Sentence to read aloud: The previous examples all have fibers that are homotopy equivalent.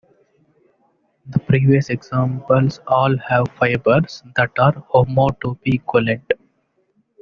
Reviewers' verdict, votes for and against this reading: rejected, 1, 2